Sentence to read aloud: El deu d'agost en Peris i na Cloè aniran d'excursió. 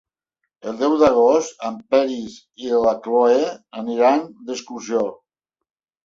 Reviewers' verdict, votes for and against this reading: rejected, 1, 2